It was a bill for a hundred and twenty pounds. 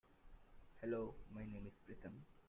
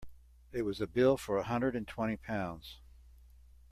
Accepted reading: second